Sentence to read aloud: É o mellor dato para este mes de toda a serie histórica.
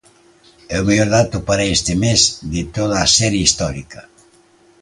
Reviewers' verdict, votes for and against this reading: accepted, 2, 0